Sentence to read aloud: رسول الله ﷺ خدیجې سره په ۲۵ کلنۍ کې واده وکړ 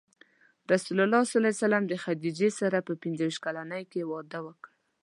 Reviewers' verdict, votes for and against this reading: rejected, 0, 2